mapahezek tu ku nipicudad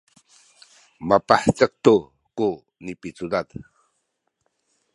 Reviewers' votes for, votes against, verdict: 2, 0, accepted